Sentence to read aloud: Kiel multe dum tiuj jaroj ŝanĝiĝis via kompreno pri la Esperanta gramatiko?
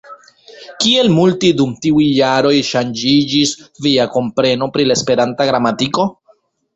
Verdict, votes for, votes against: rejected, 1, 2